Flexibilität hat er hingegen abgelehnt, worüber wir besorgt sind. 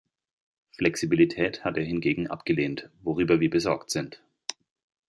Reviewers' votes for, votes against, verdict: 2, 0, accepted